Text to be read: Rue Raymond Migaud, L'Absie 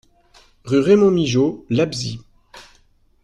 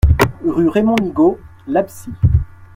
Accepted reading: second